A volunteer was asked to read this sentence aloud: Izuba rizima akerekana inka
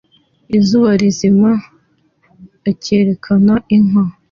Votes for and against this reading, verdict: 2, 0, accepted